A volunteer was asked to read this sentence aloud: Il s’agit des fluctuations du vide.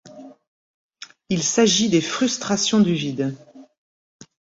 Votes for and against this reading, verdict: 1, 2, rejected